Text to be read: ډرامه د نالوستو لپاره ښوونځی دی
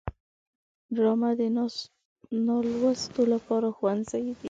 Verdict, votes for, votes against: accepted, 2, 1